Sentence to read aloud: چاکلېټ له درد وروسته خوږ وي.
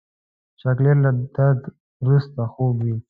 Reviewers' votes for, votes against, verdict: 0, 2, rejected